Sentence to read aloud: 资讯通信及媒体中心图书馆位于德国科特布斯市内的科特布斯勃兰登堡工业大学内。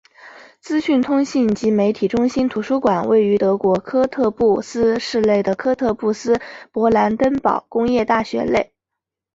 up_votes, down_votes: 3, 0